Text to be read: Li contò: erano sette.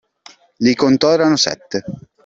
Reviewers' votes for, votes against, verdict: 2, 0, accepted